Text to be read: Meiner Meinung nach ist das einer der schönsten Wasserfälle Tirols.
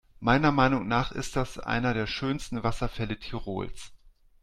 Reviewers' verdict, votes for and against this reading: accepted, 2, 0